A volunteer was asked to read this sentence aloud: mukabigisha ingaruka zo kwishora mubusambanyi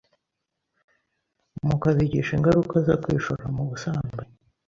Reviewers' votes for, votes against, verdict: 2, 0, accepted